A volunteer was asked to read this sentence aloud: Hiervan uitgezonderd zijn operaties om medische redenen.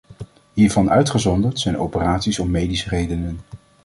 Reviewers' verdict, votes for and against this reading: accepted, 2, 0